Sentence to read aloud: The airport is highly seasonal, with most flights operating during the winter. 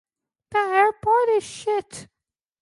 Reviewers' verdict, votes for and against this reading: rejected, 0, 2